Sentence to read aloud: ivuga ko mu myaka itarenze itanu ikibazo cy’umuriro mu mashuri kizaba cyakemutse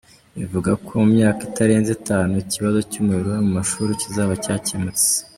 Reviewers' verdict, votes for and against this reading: accepted, 2, 0